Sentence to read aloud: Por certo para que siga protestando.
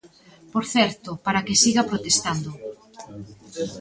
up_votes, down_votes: 1, 2